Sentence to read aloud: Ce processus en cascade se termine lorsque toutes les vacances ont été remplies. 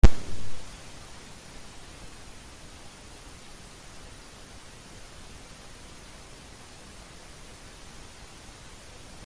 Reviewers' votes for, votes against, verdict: 0, 2, rejected